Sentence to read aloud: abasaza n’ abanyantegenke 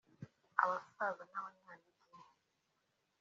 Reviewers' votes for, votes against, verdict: 1, 2, rejected